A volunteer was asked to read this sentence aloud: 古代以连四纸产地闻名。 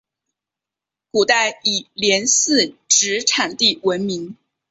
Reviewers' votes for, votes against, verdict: 2, 0, accepted